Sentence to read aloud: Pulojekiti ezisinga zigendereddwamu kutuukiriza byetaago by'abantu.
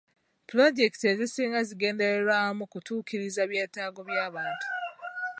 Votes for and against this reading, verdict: 2, 0, accepted